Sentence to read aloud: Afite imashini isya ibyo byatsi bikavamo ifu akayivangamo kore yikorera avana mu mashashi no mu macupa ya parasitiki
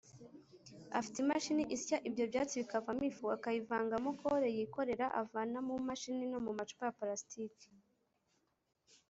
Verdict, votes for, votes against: rejected, 1, 2